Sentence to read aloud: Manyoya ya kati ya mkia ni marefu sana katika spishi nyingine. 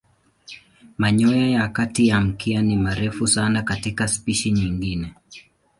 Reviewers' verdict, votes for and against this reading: accepted, 2, 0